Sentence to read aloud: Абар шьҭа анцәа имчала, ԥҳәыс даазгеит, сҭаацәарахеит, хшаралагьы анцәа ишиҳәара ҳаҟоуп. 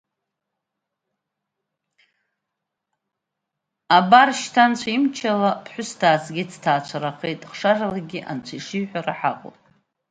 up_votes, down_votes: 1, 2